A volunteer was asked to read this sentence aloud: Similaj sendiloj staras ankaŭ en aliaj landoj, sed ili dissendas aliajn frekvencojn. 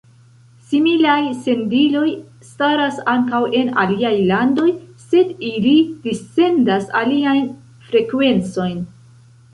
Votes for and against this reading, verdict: 1, 2, rejected